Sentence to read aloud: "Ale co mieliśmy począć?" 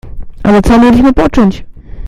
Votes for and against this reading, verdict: 1, 2, rejected